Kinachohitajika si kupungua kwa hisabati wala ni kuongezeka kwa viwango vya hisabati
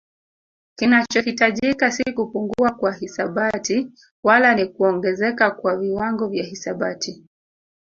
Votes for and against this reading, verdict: 1, 2, rejected